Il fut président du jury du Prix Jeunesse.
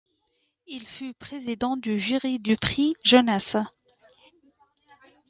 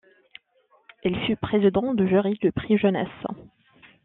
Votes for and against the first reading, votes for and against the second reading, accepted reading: 2, 0, 1, 2, first